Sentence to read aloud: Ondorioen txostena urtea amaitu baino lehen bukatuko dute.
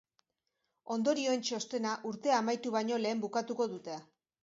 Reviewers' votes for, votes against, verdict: 2, 1, accepted